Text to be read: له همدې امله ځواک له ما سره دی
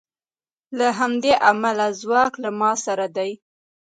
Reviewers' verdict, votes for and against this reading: rejected, 0, 2